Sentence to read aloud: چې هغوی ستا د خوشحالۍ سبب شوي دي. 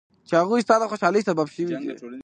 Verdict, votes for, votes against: accepted, 2, 0